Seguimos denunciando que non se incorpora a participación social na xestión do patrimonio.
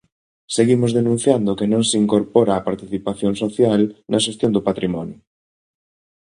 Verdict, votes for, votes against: accepted, 2, 0